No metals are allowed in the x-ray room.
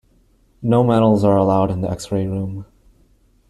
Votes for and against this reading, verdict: 2, 0, accepted